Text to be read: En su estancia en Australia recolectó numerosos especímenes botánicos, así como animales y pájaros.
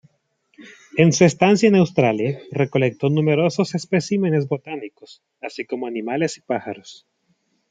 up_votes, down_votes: 2, 0